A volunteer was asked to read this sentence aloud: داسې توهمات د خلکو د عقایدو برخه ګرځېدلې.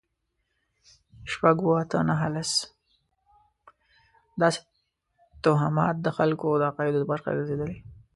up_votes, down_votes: 0, 2